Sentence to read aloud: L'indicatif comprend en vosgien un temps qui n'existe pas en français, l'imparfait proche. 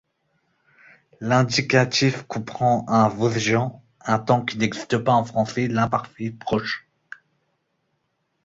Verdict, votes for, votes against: rejected, 0, 2